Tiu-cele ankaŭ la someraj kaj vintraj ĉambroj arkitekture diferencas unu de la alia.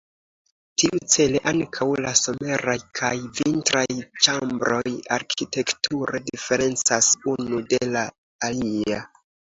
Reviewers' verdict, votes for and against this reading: accepted, 2, 0